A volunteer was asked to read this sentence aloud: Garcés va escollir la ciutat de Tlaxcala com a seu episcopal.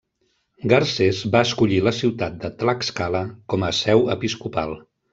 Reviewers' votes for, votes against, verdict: 1, 2, rejected